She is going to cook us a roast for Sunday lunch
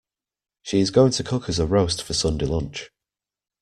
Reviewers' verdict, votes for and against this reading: accepted, 2, 1